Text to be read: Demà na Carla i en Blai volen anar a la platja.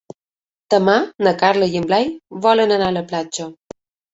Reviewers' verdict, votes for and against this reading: accepted, 2, 0